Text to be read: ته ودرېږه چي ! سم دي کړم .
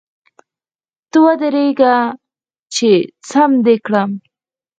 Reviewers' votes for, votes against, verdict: 0, 4, rejected